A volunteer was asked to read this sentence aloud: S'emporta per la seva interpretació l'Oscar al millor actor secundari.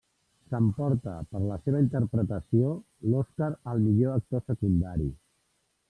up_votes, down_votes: 3, 0